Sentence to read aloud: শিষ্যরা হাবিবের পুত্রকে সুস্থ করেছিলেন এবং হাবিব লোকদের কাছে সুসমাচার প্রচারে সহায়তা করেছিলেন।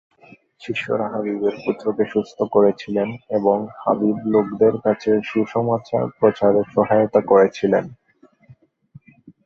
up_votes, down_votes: 0, 3